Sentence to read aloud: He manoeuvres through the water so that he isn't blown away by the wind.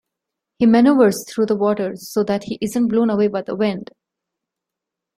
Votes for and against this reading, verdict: 2, 0, accepted